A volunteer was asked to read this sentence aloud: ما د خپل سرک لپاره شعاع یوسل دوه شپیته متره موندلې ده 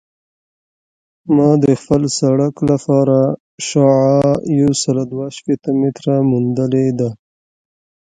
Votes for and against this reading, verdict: 2, 1, accepted